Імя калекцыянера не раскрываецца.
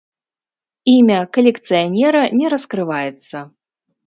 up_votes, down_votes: 0, 2